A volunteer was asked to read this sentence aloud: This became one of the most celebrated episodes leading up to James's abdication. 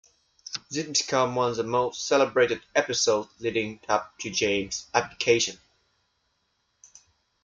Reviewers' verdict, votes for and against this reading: rejected, 0, 2